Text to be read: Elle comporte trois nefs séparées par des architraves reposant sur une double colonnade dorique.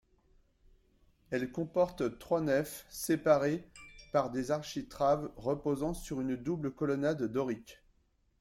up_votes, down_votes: 2, 3